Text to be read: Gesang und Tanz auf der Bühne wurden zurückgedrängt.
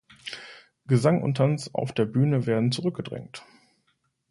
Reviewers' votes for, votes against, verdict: 0, 2, rejected